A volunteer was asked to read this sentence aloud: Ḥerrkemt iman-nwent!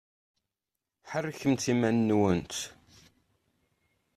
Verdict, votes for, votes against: accepted, 2, 0